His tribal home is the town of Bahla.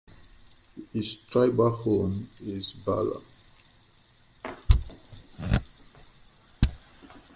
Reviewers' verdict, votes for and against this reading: rejected, 1, 2